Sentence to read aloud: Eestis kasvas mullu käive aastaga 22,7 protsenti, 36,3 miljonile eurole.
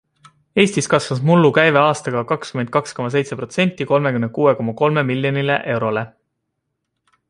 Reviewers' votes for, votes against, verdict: 0, 2, rejected